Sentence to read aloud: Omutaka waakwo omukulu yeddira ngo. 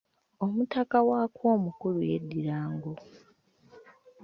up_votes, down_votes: 1, 2